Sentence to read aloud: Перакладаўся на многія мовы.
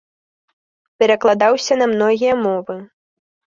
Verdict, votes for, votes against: accepted, 3, 0